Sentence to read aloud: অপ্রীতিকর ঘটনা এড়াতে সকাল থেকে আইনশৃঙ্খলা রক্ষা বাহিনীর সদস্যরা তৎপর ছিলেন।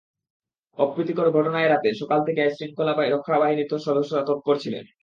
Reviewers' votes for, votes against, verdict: 0, 2, rejected